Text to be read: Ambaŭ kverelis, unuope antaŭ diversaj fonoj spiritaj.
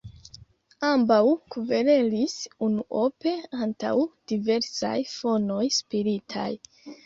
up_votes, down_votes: 3, 1